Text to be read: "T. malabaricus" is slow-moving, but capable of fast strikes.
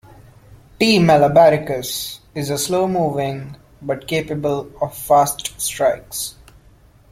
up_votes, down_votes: 1, 2